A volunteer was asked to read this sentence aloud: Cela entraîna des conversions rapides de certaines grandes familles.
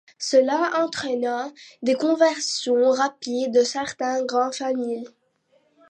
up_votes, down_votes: 1, 2